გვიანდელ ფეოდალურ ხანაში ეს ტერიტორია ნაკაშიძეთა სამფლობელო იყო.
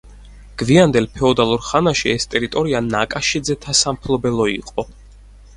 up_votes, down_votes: 4, 0